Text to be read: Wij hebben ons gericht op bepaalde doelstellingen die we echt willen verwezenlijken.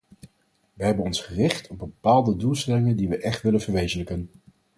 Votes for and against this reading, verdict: 2, 2, rejected